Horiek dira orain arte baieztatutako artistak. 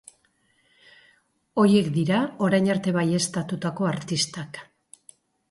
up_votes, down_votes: 0, 2